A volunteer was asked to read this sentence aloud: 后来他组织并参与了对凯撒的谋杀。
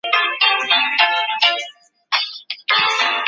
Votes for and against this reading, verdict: 0, 3, rejected